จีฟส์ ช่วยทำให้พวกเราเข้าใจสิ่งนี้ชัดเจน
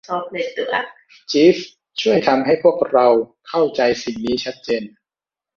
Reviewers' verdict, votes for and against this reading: rejected, 0, 2